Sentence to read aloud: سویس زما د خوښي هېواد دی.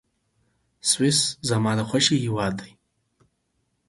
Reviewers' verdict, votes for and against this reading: accepted, 4, 0